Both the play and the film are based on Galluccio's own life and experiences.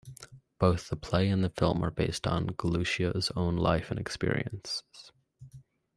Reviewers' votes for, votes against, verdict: 2, 0, accepted